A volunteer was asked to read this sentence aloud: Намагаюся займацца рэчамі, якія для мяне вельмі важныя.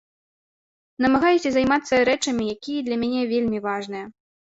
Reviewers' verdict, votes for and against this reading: accepted, 3, 0